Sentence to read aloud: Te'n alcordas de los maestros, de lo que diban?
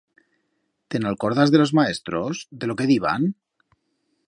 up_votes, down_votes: 2, 0